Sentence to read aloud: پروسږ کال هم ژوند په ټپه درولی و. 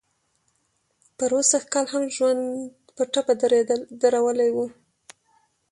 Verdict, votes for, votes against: rejected, 1, 2